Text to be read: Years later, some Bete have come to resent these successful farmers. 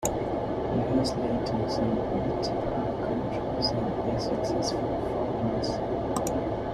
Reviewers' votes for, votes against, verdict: 0, 2, rejected